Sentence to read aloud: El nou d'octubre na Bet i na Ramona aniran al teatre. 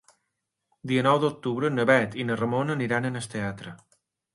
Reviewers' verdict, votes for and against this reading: rejected, 1, 2